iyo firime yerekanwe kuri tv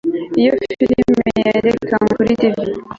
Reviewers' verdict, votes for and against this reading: rejected, 1, 2